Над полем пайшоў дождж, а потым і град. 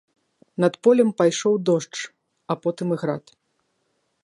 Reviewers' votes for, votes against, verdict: 2, 0, accepted